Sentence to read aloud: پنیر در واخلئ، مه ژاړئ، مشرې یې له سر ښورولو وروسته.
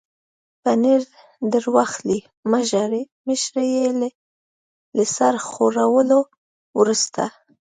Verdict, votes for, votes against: accepted, 2, 0